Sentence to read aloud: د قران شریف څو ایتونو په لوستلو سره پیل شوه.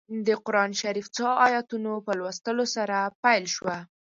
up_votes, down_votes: 4, 0